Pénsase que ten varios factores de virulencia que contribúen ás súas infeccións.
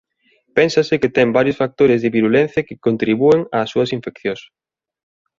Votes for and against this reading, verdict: 2, 0, accepted